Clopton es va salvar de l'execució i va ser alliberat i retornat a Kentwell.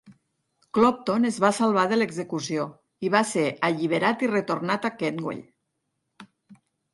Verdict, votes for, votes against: accepted, 4, 0